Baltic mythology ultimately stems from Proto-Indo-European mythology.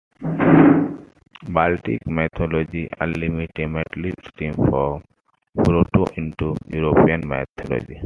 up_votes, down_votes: 2, 1